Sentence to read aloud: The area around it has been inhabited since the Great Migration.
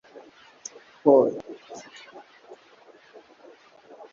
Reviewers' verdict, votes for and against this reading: rejected, 0, 2